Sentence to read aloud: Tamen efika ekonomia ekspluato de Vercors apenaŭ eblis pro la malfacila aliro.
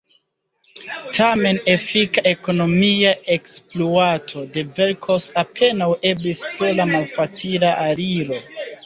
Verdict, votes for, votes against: rejected, 1, 2